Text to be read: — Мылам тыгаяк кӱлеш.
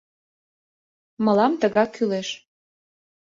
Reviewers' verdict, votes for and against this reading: rejected, 0, 2